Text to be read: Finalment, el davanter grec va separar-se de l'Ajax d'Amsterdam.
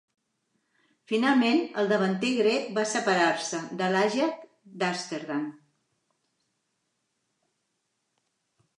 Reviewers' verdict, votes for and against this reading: accepted, 2, 1